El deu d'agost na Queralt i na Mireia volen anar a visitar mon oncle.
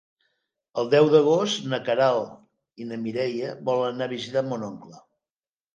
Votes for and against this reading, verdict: 3, 0, accepted